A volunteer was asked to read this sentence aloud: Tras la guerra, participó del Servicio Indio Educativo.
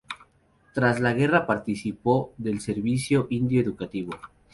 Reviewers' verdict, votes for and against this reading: rejected, 0, 2